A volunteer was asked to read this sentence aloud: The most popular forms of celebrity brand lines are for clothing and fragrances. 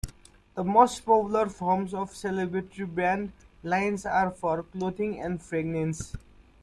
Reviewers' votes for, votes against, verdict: 1, 2, rejected